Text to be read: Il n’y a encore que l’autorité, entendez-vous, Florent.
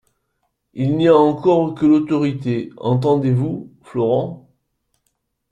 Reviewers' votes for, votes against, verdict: 1, 2, rejected